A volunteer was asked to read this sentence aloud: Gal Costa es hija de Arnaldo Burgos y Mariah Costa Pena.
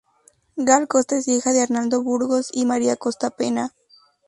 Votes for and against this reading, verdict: 0, 2, rejected